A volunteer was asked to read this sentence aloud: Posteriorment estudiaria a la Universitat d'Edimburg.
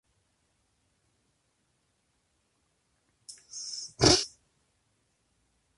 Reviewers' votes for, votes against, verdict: 0, 2, rejected